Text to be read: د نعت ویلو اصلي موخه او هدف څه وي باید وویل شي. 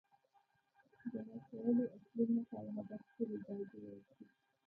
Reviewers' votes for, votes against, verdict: 0, 2, rejected